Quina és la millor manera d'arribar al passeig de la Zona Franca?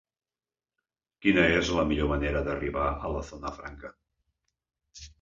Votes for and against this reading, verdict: 0, 2, rejected